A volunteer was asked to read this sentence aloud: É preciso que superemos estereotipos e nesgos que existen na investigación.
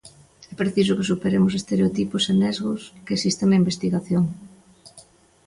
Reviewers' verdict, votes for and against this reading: accepted, 2, 0